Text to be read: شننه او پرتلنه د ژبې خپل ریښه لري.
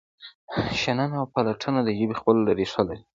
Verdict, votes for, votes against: accepted, 2, 1